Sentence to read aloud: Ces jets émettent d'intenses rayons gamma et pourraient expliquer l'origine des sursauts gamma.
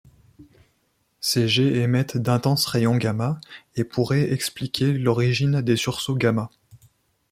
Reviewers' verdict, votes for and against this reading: accepted, 2, 0